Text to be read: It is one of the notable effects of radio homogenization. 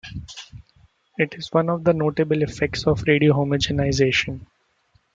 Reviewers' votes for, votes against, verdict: 2, 1, accepted